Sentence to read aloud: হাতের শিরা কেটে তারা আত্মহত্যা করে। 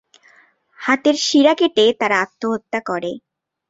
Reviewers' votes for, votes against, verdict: 2, 1, accepted